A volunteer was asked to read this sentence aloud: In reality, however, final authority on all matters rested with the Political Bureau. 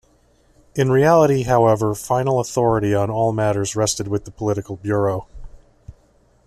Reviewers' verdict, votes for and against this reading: accepted, 2, 0